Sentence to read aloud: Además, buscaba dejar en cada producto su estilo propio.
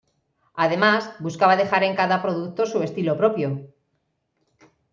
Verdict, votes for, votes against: accepted, 2, 0